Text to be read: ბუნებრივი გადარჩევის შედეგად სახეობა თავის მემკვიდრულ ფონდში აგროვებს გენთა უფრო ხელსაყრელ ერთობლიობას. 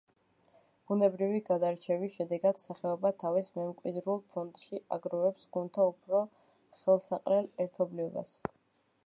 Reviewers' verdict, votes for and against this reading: accepted, 2, 1